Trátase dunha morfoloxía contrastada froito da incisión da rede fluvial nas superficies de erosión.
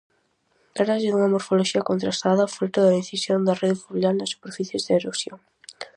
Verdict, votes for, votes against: rejected, 2, 2